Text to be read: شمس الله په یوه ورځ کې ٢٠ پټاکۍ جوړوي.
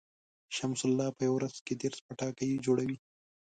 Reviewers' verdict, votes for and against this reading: rejected, 0, 2